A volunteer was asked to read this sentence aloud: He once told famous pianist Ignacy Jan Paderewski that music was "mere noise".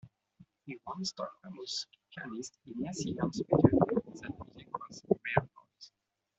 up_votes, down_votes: 0, 2